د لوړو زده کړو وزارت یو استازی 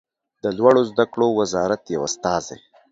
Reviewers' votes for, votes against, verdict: 2, 0, accepted